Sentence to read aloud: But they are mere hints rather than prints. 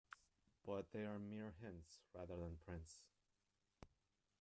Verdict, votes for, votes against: rejected, 0, 2